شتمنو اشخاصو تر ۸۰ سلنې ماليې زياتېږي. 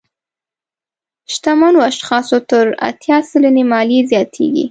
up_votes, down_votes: 0, 2